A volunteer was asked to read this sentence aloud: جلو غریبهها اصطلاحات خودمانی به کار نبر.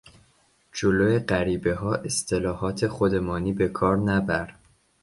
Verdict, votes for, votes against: accepted, 2, 0